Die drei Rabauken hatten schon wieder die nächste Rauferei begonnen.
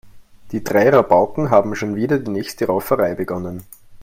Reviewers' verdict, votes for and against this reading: rejected, 0, 3